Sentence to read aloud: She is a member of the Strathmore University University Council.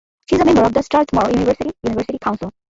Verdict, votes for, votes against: rejected, 0, 2